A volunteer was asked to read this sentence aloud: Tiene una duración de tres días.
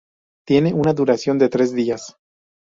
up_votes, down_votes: 2, 0